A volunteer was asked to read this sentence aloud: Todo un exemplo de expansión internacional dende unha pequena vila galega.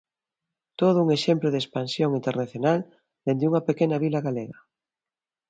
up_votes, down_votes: 2, 0